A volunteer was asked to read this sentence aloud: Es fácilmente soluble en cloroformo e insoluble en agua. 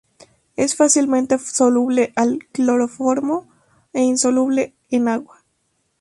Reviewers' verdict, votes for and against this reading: rejected, 0, 2